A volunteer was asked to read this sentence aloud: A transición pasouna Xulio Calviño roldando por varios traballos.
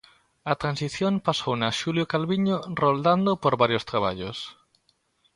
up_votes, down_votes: 2, 0